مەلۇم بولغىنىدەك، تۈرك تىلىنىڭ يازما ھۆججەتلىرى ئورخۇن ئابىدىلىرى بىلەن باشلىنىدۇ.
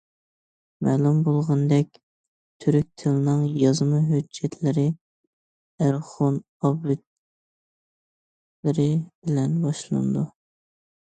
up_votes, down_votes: 0, 2